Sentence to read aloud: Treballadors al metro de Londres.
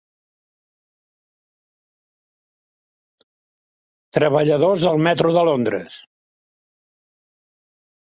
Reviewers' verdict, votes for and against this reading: accepted, 3, 1